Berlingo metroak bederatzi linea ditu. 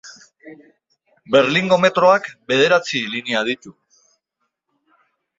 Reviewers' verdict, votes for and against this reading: accepted, 2, 0